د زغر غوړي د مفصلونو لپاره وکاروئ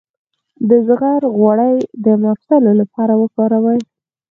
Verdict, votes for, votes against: rejected, 0, 4